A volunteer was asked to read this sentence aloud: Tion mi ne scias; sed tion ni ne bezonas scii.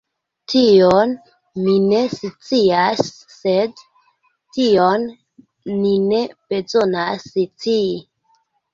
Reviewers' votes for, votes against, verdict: 0, 2, rejected